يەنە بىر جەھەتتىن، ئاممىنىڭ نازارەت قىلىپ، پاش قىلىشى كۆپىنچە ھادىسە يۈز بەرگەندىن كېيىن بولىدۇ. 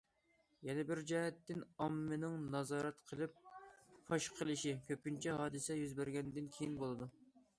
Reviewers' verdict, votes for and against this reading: accepted, 2, 0